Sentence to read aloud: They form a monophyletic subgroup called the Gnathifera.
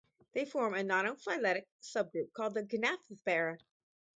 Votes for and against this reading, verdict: 2, 4, rejected